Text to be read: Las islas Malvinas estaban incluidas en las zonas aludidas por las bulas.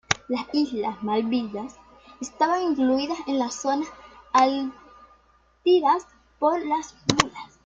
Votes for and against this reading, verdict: 1, 2, rejected